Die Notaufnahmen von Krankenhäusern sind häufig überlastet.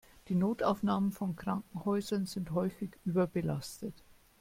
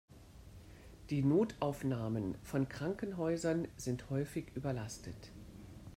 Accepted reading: second